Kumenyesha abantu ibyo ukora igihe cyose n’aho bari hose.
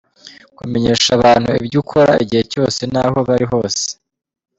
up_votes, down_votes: 2, 0